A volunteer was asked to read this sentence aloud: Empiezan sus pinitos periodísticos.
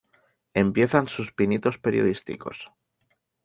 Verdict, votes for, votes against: accepted, 2, 0